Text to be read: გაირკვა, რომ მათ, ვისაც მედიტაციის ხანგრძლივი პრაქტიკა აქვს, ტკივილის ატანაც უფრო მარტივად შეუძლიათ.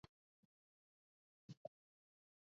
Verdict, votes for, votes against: rejected, 0, 2